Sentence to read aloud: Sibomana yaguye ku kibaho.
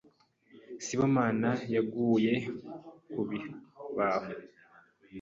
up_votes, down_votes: 1, 3